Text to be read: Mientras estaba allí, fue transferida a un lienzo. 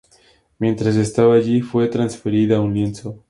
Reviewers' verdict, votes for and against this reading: accepted, 4, 0